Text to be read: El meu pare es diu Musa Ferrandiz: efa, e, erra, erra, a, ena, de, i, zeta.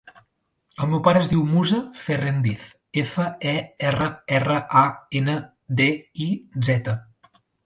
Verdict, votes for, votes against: rejected, 1, 2